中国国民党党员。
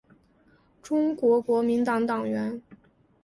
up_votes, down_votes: 2, 0